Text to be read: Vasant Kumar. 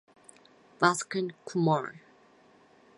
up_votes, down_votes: 2, 4